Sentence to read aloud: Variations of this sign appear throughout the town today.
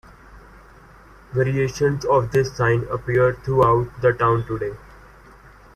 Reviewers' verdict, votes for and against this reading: accepted, 2, 0